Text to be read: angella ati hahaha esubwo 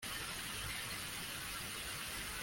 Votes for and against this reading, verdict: 0, 2, rejected